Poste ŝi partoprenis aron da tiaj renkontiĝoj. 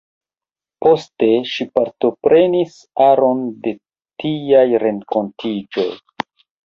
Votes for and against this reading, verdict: 1, 2, rejected